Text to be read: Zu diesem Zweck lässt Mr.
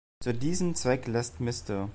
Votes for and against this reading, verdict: 2, 1, accepted